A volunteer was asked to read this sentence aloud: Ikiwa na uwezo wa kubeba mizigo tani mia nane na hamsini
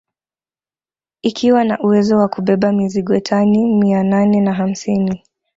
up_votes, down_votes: 2, 0